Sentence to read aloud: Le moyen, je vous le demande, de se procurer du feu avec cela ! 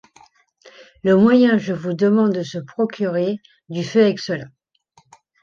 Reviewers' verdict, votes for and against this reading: rejected, 1, 2